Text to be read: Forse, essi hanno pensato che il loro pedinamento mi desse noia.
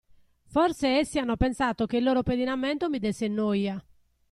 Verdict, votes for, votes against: accepted, 2, 0